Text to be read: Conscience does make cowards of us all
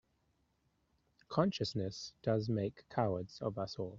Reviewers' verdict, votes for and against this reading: rejected, 0, 2